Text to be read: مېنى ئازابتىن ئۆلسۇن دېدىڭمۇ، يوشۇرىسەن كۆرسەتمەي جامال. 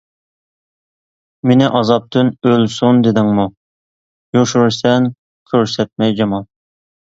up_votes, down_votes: 2, 0